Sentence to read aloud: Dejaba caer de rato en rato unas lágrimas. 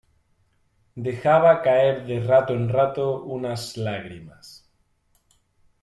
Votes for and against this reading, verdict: 2, 0, accepted